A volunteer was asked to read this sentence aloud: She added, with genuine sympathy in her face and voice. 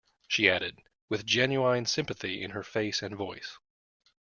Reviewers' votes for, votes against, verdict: 2, 0, accepted